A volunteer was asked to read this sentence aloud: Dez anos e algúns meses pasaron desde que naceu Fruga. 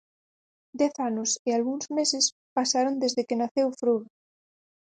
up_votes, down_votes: 2, 4